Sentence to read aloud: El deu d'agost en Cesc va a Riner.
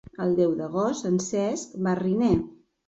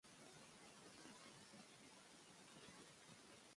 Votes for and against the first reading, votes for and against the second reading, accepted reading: 3, 0, 0, 2, first